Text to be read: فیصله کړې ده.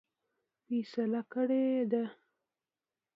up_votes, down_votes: 2, 0